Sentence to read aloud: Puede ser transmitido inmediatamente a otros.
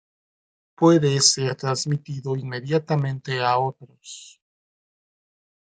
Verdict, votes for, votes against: rejected, 1, 2